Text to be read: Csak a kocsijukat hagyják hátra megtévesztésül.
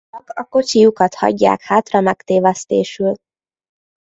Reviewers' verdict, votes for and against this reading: rejected, 0, 2